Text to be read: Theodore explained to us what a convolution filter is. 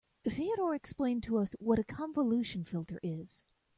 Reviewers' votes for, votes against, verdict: 2, 0, accepted